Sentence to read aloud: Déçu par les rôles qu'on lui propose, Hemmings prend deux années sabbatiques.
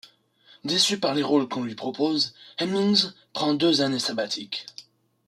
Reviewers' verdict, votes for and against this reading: accepted, 2, 1